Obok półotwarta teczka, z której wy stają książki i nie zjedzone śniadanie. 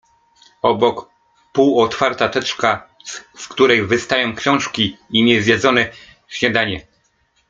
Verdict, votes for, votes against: accepted, 2, 1